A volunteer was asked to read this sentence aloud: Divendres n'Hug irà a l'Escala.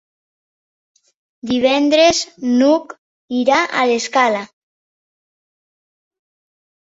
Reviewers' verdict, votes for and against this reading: accepted, 4, 0